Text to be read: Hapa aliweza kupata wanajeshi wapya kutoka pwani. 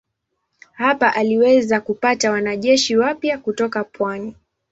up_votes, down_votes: 2, 0